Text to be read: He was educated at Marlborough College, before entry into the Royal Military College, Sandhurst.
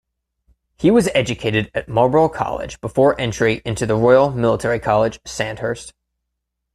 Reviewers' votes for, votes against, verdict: 2, 0, accepted